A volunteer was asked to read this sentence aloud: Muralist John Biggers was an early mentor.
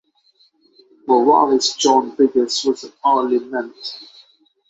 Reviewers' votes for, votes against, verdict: 0, 6, rejected